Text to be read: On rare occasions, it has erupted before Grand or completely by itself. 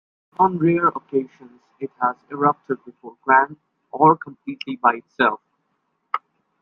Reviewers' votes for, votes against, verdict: 1, 2, rejected